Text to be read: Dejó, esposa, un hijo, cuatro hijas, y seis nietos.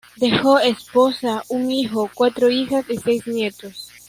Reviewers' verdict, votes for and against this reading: rejected, 1, 2